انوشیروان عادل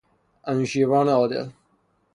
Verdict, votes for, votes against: accepted, 6, 0